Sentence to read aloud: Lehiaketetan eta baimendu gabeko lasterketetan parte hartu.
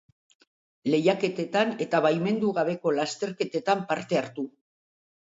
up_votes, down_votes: 2, 0